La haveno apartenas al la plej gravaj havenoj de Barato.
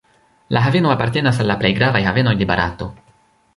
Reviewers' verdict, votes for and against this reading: accepted, 2, 0